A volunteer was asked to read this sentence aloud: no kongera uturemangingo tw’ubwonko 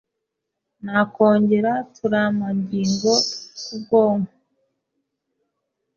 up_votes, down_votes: 0, 2